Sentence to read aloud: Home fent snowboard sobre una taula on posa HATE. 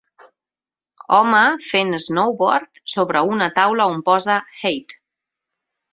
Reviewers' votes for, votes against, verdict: 4, 0, accepted